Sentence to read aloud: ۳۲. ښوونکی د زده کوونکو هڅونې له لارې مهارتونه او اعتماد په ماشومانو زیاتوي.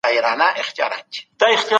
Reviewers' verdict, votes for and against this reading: rejected, 0, 2